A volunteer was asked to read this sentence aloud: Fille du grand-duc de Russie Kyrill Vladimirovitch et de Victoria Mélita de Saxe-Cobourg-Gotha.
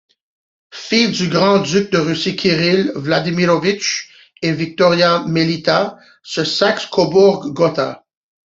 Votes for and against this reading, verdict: 0, 2, rejected